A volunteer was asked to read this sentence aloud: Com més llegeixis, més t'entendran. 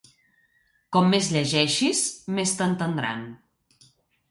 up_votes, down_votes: 2, 0